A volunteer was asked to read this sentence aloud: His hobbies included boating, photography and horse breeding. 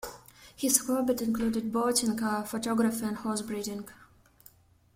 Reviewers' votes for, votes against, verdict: 1, 2, rejected